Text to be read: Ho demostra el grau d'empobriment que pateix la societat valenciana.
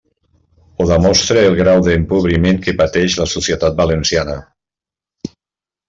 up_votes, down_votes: 2, 0